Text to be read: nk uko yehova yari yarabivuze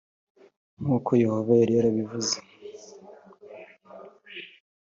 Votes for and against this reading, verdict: 4, 0, accepted